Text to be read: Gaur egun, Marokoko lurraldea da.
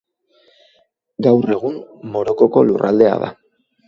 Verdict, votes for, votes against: rejected, 0, 2